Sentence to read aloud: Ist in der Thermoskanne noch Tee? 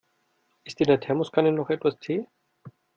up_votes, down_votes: 1, 2